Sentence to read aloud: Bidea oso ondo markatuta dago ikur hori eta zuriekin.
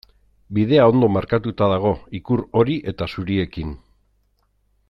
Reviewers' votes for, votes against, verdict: 1, 2, rejected